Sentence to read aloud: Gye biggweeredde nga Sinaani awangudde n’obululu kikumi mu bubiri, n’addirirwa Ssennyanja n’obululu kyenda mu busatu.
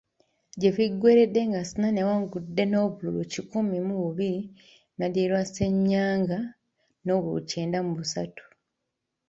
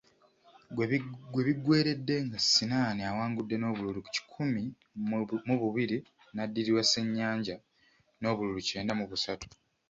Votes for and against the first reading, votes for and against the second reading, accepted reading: 0, 2, 2, 0, second